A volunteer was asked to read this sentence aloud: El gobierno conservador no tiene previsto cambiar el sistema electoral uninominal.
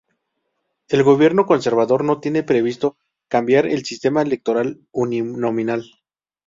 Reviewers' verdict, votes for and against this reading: rejected, 0, 2